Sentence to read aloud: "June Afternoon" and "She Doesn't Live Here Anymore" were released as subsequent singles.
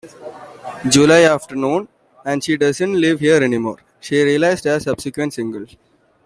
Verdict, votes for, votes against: rejected, 1, 2